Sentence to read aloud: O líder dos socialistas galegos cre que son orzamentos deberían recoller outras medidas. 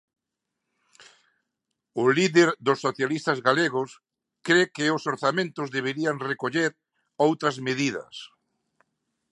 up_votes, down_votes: 1, 2